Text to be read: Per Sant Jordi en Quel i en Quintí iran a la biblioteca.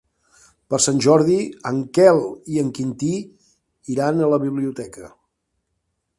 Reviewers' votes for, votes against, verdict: 3, 0, accepted